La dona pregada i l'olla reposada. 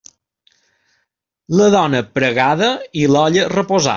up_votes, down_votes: 1, 2